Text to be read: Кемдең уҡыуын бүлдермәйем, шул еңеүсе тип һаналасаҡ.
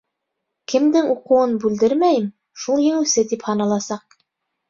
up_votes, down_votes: 2, 0